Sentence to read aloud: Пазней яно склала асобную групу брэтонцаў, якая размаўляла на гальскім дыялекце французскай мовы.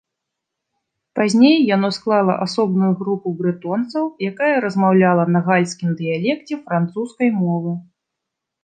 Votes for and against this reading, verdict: 2, 0, accepted